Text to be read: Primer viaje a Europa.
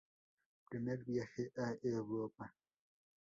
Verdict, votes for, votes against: rejected, 0, 2